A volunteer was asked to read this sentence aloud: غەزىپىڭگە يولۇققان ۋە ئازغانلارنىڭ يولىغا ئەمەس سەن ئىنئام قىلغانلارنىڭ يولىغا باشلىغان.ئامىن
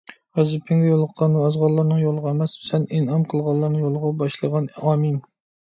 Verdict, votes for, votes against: accepted, 2, 0